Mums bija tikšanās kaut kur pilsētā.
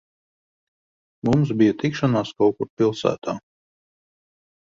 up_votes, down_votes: 1, 2